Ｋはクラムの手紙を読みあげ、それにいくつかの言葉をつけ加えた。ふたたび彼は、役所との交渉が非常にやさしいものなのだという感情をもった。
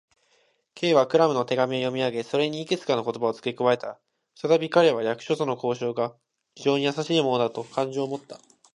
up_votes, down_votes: 1, 2